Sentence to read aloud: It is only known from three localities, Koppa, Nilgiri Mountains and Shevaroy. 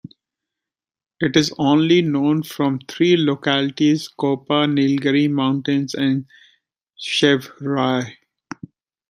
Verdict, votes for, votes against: rejected, 1, 2